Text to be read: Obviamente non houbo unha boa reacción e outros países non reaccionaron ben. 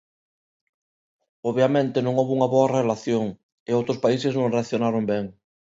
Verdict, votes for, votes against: rejected, 1, 2